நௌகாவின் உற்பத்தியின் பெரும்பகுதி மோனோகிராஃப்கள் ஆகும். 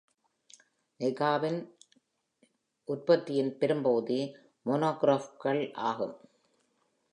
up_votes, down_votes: 1, 2